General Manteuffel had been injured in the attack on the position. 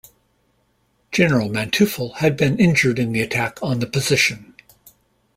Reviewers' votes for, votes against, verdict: 2, 0, accepted